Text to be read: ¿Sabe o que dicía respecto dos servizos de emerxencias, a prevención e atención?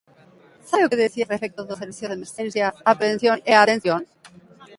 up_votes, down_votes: 0, 2